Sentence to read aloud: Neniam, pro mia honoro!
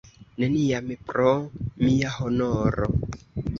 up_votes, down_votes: 2, 1